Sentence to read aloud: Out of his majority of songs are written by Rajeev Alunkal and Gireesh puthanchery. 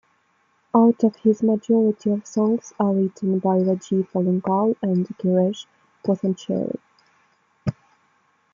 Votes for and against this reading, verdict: 2, 0, accepted